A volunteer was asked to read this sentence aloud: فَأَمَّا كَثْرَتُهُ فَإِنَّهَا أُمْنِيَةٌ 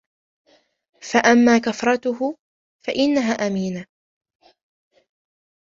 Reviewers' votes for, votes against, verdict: 1, 2, rejected